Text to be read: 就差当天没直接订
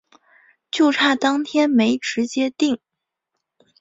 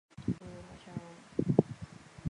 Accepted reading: first